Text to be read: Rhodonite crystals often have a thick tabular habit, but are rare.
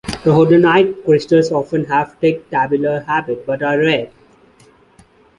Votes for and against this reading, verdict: 2, 0, accepted